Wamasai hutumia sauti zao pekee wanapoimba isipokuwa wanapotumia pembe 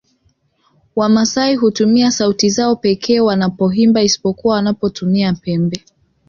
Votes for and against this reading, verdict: 2, 0, accepted